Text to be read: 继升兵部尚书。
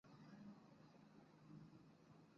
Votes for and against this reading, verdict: 0, 2, rejected